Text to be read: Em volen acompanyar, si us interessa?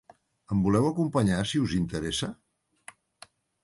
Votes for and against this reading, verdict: 0, 2, rejected